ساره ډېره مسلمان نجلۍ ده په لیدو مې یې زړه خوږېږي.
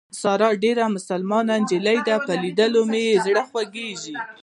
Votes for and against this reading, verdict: 2, 0, accepted